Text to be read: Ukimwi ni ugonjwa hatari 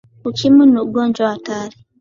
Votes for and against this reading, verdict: 3, 0, accepted